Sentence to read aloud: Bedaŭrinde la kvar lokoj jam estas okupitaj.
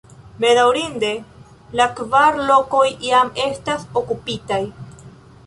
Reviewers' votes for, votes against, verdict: 2, 0, accepted